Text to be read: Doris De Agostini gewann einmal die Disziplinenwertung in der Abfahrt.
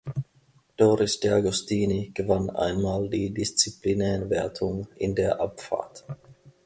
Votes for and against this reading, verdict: 1, 2, rejected